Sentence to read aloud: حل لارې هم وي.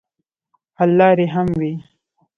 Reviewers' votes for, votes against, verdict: 1, 2, rejected